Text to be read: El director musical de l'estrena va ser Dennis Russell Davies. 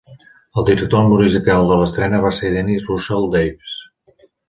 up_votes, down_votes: 0, 2